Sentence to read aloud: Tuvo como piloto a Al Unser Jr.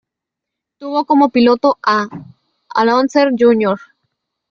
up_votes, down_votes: 0, 2